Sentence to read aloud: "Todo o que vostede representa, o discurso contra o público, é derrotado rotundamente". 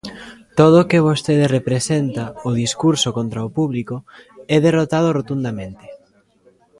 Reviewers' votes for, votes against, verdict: 2, 0, accepted